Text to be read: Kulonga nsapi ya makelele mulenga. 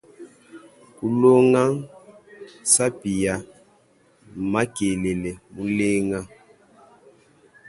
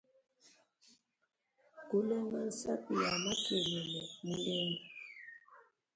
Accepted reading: first